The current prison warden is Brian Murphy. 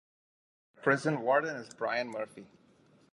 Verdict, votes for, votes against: rejected, 0, 2